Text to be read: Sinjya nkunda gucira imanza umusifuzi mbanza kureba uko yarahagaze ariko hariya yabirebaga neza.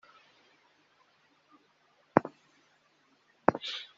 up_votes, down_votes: 0, 2